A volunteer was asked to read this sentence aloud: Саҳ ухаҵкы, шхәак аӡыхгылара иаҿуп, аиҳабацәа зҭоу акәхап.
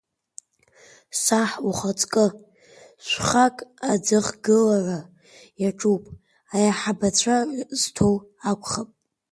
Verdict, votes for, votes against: accepted, 2, 1